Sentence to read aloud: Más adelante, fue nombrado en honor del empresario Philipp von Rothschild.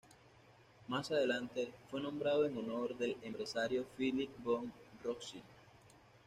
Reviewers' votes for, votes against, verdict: 2, 0, accepted